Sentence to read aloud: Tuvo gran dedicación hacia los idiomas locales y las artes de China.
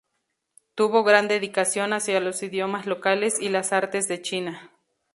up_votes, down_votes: 2, 0